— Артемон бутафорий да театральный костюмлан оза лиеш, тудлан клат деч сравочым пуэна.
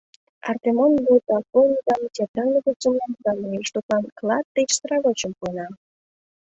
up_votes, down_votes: 0, 2